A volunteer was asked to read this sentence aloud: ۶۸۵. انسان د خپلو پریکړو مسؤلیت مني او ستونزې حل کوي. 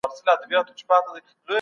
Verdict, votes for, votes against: rejected, 0, 2